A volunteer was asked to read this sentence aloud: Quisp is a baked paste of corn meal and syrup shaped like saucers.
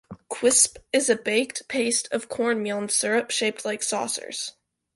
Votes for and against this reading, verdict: 3, 0, accepted